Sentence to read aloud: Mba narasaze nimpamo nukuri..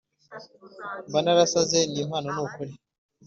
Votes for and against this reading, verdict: 2, 0, accepted